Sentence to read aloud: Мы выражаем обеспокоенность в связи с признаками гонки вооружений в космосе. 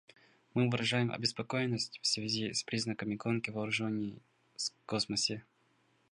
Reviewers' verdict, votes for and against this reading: rejected, 0, 2